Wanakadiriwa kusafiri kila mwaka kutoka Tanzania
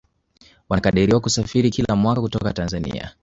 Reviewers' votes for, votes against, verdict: 1, 2, rejected